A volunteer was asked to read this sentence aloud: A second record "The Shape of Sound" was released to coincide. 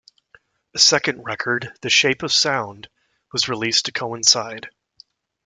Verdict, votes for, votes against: accepted, 2, 0